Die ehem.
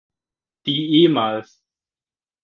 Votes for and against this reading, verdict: 2, 4, rejected